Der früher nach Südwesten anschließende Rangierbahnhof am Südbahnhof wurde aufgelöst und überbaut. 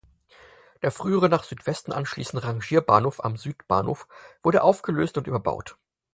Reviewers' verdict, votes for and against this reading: accepted, 4, 0